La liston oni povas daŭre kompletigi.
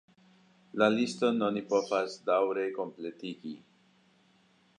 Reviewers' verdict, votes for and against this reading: accepted, 2, 1